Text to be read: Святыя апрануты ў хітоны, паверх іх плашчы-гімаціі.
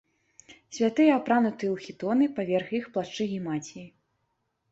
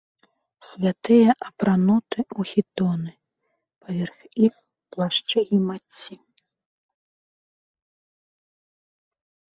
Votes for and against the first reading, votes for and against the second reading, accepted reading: 2, 0, 0, 2, first